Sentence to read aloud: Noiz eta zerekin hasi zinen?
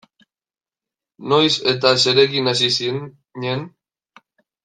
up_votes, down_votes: 0, 2